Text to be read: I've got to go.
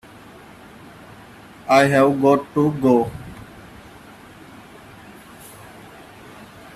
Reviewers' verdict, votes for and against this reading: rejected, 0, 3